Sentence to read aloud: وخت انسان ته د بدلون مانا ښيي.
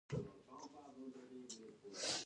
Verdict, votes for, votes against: rejected, 1, 2